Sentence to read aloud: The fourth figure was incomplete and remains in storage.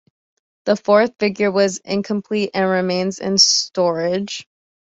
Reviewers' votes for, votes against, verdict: 2, 0, accepted